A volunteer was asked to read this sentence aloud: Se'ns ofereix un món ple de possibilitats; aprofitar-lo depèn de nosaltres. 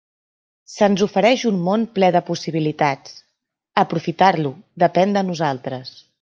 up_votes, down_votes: 3, 0